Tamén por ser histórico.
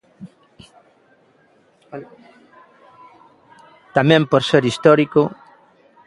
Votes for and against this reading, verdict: 1, 2, rejected